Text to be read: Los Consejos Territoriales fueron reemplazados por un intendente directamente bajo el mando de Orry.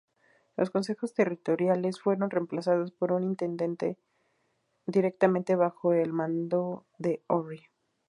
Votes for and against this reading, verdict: 0, 2, rejected